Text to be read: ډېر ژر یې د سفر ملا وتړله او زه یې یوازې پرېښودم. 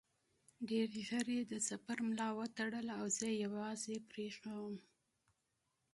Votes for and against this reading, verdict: 2, 0, accepted